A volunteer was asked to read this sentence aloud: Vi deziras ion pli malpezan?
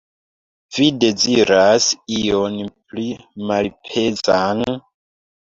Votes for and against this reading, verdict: 2, 0, accepted